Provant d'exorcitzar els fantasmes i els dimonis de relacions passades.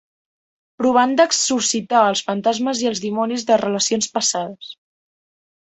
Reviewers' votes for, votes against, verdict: 3, 1, accepted